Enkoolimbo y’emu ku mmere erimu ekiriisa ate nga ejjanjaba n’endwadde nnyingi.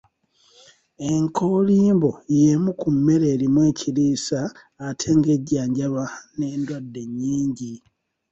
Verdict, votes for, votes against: accepted, 2, 0